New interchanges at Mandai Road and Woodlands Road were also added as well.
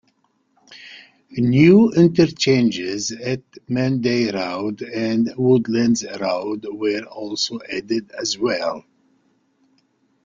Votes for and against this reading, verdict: 2, 3, rejected